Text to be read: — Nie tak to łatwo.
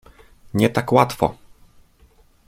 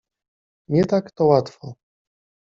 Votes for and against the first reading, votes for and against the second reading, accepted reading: 0, 2, 2, 0, second